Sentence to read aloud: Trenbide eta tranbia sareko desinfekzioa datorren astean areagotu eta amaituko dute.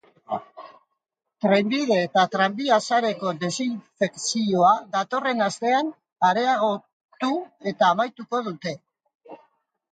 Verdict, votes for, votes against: rejected, 1, 3